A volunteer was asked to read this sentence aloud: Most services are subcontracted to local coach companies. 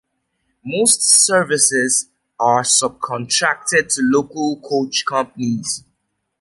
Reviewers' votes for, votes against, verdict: 2, 0, accepted